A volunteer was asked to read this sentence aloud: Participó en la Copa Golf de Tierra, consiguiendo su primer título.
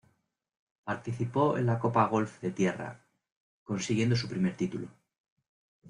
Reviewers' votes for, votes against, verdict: 2, 0, accepted